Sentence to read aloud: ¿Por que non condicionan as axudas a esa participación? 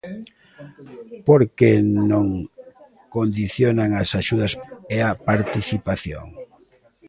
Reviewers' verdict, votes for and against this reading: rejected, 0, 3